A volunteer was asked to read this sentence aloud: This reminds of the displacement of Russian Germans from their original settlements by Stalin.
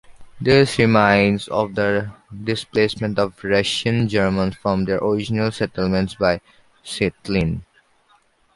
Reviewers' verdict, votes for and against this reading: accepted, 2, 0